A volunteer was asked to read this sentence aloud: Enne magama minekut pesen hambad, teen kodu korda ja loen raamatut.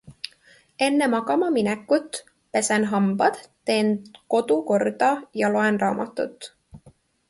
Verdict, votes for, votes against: accepted, 2, 1